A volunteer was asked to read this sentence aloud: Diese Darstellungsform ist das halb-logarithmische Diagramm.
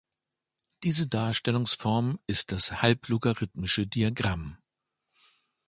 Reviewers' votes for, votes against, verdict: 2, 0, accepted